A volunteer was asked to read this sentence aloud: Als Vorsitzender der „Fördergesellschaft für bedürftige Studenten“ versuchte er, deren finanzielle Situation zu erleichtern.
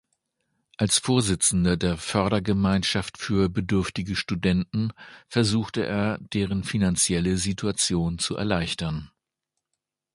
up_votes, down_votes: 1, 2